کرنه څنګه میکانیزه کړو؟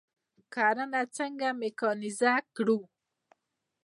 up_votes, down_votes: 2, 0